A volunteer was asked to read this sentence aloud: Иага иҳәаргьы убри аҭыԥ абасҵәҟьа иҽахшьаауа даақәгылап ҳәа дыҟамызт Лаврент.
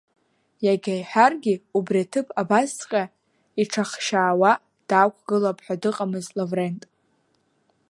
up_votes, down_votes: 2, 0